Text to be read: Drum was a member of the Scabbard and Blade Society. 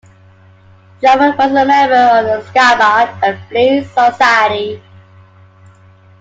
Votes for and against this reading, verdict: 0, 2, rejected